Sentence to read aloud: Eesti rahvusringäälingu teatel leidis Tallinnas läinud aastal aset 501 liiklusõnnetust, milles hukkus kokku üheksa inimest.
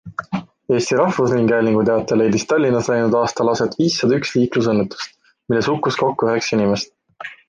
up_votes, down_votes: 0, 2